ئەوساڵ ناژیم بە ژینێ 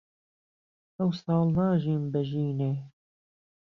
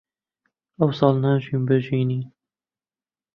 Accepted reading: first